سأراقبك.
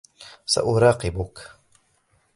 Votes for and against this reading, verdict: 1, 2, rejected